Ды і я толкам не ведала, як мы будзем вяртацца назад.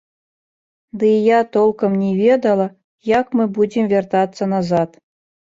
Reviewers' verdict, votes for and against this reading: rejected, 0, 2